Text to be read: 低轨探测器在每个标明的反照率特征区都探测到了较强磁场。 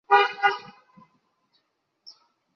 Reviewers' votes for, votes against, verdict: 0, 4, rejected